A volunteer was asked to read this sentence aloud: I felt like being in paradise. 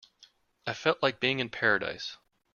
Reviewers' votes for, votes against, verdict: 2, 0, accepted